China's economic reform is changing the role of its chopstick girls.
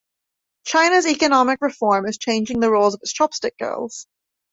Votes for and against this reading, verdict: 2, 0, accepted